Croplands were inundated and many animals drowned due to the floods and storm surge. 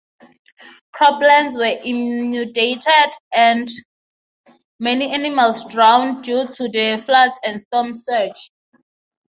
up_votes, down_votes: 3, 0